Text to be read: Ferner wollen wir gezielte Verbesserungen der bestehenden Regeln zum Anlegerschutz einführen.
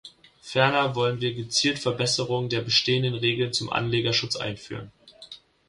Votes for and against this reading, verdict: 1, 2, rejected